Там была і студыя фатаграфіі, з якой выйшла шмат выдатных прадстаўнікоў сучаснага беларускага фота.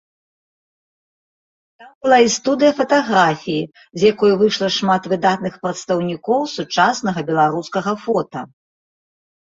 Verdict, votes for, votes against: rejected, 1, 2